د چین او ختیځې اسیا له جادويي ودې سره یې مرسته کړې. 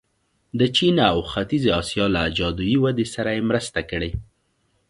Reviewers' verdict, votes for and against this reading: accepted, 2, 0